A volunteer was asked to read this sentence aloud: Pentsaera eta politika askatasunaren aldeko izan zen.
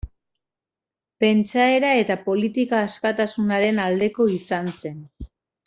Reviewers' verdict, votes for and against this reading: accepted, 2, 1